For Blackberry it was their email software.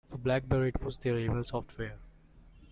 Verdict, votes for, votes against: accepted, 2, 0